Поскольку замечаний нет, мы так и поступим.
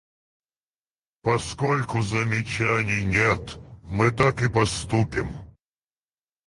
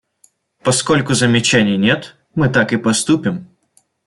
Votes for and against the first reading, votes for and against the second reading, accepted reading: 2, 4, 2, 0, second